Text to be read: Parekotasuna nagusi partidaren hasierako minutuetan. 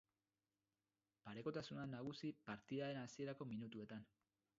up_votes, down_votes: 2, 2